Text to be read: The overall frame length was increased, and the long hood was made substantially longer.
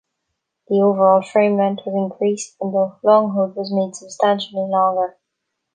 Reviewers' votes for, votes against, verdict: 2, 0, accepted